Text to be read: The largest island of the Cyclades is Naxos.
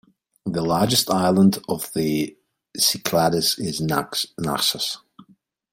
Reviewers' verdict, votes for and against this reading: rejected, 0, 2